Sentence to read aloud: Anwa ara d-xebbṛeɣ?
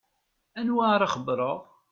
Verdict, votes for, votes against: rejected, 0, 2